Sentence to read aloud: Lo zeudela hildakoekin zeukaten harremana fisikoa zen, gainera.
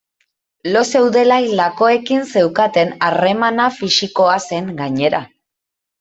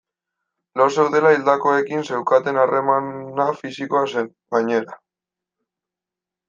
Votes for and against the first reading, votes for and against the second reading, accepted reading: 2, 0, 0, 2, first